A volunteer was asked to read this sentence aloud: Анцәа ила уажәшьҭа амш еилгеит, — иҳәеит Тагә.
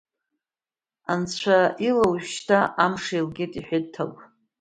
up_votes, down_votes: 2, 0